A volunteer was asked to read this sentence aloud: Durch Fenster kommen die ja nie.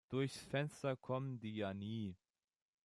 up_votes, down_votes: 2, 0